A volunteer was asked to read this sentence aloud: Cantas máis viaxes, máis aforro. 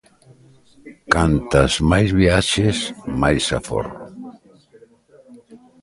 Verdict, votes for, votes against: rejected, 1, 2